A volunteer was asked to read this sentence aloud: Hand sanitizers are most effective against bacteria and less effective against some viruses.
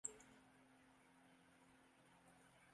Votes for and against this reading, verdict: 0, 2, rejected